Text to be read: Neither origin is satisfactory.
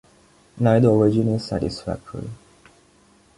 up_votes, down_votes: 2, 0